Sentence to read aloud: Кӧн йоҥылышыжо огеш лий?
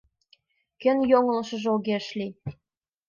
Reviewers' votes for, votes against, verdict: 2, 0, accepted